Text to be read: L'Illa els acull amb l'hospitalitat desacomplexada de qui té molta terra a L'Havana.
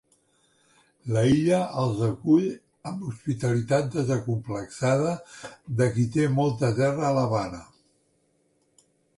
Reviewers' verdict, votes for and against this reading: rejected, 1, 2